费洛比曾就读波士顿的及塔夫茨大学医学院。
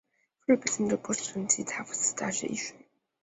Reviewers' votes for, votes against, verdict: 0, 2, rejected